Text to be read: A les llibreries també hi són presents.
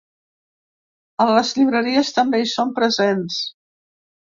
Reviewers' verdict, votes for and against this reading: accepted, 2, 0